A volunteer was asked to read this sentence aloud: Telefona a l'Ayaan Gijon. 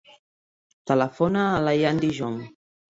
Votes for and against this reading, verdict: 2, 0, accepted